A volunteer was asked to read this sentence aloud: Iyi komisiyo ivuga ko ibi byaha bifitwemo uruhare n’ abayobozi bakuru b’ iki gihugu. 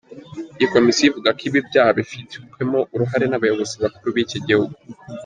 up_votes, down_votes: 2, 1